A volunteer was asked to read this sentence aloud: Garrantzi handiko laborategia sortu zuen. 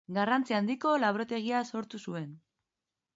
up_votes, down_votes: 2, 0